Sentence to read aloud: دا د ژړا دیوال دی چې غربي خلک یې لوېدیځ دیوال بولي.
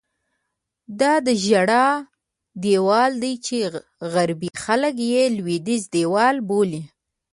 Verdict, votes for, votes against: accepted, 2, 0